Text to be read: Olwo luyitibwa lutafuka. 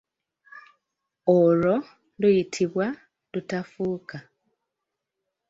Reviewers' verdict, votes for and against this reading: rejected, 1, 2